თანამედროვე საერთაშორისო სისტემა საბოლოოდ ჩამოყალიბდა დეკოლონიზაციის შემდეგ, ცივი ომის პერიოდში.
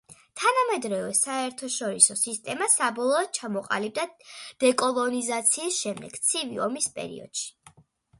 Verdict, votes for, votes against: accepted, 2, 0